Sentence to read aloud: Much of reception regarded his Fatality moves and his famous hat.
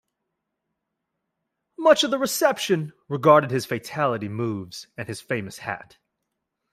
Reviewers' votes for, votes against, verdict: 1, 2, rejected